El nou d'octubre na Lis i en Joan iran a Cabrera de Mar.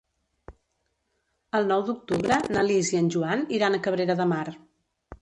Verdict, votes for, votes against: rejected, 0, 2